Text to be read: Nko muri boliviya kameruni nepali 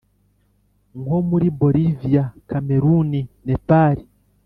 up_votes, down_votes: 2, 0